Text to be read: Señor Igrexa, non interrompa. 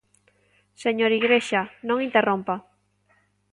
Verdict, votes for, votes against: accepted, 2, 0